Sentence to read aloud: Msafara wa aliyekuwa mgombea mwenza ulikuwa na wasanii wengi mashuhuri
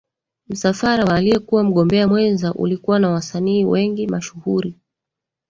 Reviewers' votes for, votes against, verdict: 1, 2, rejected